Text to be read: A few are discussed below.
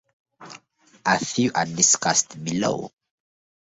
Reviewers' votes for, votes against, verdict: 0, 2, rejected